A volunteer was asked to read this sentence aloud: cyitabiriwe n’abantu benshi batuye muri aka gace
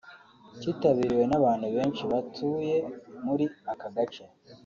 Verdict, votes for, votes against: accepted, 2, 0